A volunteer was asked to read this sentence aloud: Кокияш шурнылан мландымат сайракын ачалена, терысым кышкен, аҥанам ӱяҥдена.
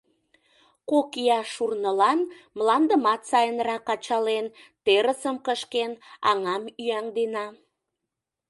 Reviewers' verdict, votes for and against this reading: rejected, 0, 2